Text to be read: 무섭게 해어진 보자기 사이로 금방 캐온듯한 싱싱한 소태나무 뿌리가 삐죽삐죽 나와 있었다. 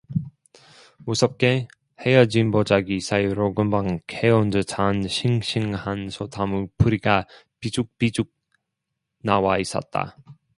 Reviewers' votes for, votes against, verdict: 0, 2, rejected